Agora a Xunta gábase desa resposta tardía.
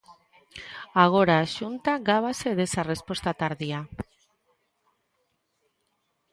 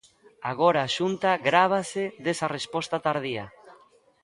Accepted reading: first